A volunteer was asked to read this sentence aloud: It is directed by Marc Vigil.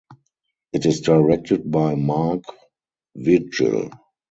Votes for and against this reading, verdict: 4, 0, accepted